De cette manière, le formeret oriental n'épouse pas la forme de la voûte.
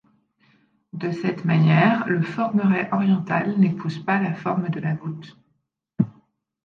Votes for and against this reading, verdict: 2, 0, accepted